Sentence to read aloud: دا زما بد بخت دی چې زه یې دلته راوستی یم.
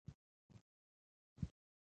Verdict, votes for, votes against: rejected, 1, 2